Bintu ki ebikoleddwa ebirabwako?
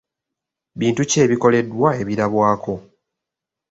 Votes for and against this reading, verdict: 2, 0, accepted